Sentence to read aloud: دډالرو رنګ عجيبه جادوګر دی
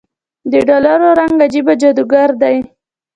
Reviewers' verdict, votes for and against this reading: accepted, 2, 0